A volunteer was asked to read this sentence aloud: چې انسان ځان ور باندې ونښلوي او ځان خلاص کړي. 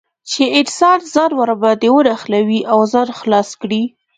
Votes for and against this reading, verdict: 2, 1, accepted